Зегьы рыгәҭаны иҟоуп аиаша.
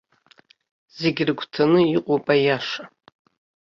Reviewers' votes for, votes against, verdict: 2, 0, accepted